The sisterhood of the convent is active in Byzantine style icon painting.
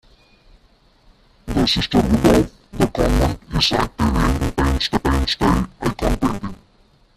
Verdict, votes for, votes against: rejected, 0, 2